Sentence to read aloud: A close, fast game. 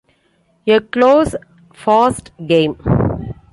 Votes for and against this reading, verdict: 3, 2, accepted